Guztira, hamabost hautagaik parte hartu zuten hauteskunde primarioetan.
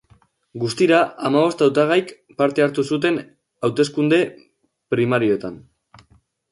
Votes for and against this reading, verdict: 5, 1, accepted